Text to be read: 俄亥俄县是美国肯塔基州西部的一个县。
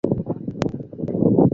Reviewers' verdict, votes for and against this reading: rejected, 0, 3